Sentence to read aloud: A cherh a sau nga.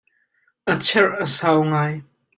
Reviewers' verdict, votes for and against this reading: rejected, 1, 2